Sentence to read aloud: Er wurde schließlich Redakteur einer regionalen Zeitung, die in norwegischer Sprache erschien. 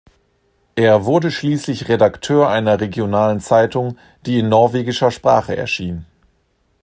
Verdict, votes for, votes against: accepted, 2, 0